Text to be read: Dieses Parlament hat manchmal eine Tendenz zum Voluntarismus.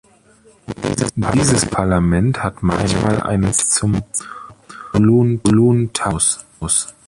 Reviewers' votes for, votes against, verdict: 0, 2, rejected